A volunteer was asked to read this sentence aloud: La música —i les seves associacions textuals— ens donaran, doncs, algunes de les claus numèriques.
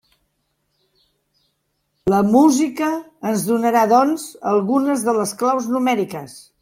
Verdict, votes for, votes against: rejected, 0, 2